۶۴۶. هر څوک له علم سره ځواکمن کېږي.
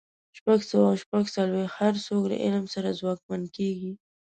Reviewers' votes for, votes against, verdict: 0, 2, rejected